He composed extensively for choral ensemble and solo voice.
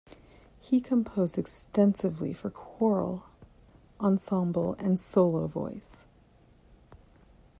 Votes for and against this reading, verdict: 1, 2, rejected